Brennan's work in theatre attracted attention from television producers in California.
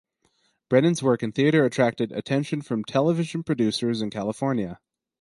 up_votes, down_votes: 4, 0